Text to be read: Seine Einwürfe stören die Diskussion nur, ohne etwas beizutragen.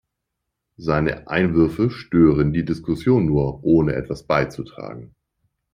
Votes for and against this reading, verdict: 2, 0, accepted